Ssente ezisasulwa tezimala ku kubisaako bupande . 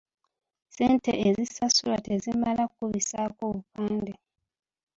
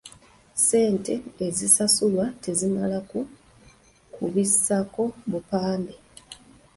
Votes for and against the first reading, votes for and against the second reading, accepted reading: 2, 1, 1, 2, first